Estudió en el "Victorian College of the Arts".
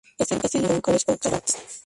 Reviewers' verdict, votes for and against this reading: rejected, 0, 4